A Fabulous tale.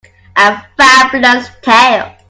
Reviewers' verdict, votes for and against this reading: accepted, 2, 1